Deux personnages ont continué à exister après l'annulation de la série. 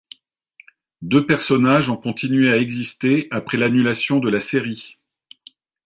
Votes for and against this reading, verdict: 2, 0, accepted